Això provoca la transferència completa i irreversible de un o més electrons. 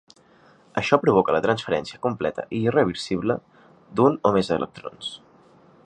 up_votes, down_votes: 4, 0